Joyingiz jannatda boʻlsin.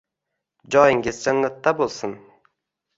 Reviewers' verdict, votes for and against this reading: accepted, 2, 0